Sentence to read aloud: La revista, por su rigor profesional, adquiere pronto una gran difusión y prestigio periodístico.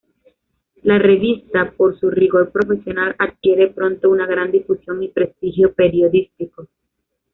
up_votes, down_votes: 2, 0